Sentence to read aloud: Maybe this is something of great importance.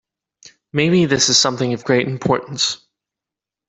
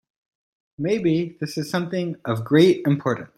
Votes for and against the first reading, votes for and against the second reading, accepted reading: 2, 0, 1, 2, first